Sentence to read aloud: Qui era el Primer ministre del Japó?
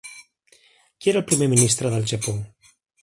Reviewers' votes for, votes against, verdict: 3, 1, accepted